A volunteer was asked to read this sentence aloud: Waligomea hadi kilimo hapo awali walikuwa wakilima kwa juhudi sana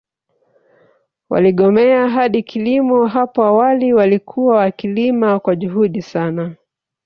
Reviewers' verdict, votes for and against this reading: rejected, 1, 2